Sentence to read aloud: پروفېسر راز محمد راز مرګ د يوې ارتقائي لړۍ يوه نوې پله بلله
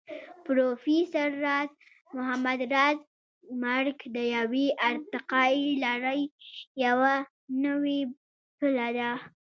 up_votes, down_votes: 0, 2